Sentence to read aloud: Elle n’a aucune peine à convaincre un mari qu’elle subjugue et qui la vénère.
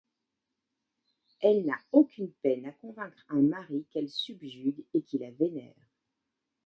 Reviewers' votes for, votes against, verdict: 2, 0, accepted